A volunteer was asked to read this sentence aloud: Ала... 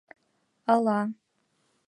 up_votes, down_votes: 2, 0